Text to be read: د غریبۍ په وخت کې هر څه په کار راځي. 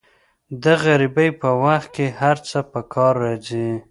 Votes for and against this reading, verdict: 2, 0, accepted